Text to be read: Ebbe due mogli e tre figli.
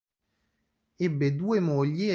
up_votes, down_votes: 0, 2